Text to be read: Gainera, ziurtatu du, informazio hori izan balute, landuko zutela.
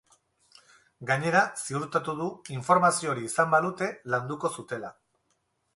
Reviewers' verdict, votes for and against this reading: accepted, 4, 0